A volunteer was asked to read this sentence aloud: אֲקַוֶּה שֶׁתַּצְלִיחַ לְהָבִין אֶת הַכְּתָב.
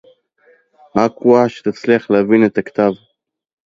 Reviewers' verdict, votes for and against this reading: rejected, 0, 2